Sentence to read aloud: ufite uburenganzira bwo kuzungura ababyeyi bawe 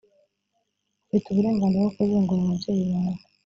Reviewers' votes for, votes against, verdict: 1, 2, rejected